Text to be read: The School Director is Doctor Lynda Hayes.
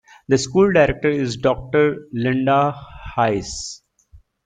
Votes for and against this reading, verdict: 2, 0, accepted